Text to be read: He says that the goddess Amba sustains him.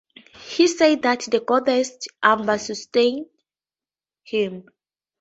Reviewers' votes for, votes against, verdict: 8, 14, rejected